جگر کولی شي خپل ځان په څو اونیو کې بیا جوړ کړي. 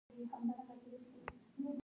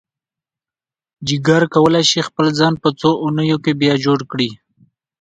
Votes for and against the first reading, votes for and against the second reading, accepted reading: 0, 2, 2, 0, second